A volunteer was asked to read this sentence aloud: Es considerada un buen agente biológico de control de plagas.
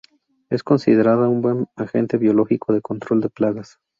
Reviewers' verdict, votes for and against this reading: rejected, 0, 2